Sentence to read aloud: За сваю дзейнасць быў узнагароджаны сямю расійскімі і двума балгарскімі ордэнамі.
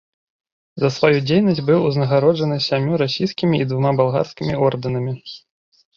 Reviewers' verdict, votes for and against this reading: accepted, 2, 0